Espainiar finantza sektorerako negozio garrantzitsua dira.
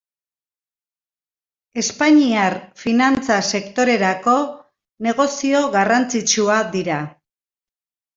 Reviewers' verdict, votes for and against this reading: rejected, 0, 2